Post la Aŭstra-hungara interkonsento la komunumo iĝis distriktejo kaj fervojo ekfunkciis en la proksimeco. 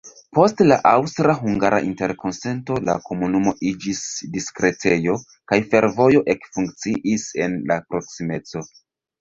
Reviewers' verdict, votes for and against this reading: rejected, 1, 2